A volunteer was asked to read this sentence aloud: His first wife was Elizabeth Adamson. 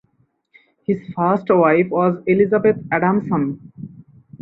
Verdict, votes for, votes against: accepted, 4, 0